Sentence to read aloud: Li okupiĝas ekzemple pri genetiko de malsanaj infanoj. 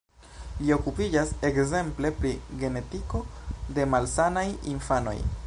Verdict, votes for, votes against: accepted, 2, 1